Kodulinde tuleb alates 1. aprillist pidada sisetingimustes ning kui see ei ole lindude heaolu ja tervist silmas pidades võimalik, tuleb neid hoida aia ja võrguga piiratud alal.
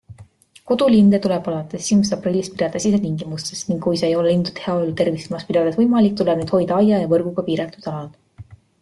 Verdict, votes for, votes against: rejected, 0, 2